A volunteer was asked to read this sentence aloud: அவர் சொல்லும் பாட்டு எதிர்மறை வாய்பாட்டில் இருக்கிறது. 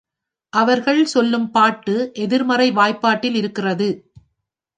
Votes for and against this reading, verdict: 2, 3, rejected